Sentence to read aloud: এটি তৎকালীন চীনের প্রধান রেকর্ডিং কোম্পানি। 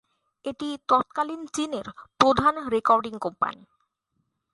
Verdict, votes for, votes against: accepted, 2, 0